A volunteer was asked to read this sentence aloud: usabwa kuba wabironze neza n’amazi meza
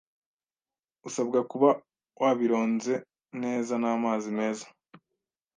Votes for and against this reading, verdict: 2, 0, accepted